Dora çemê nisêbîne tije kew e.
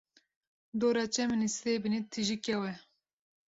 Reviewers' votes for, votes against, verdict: 1, 2, rejected